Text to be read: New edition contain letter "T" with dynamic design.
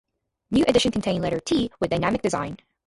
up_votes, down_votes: 0, 4